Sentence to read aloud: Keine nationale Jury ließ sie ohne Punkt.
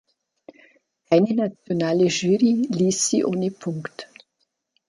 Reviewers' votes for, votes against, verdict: 2, 3, rejected